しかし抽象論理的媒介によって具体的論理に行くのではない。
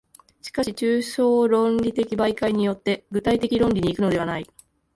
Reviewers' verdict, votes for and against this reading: accepted, 2, 0